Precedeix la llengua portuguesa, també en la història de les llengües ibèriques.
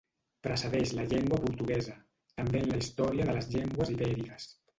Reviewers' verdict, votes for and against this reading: rejected, 1, 2